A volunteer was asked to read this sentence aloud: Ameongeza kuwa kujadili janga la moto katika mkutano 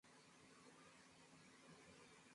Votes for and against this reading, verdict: 0, 2, rejected